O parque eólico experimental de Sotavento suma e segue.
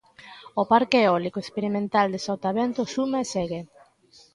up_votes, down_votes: 2, 0